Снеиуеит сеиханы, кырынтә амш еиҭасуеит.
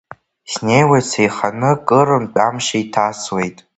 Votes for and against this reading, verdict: 0, 2, rejected